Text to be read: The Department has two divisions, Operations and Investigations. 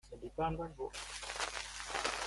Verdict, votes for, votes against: rejected, 0, 2